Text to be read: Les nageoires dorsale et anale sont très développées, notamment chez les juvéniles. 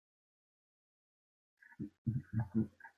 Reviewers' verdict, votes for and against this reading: rejected, 0, 2